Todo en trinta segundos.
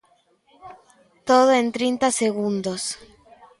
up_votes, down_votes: 2, 1